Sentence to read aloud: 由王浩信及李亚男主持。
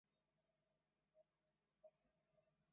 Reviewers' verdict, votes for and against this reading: rejected, 0, 2